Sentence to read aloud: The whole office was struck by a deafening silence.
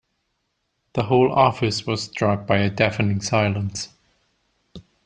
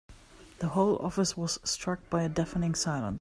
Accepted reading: first